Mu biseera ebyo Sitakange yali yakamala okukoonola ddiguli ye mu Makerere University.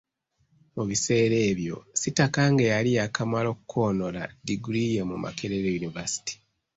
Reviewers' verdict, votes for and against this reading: accepted, 2, 0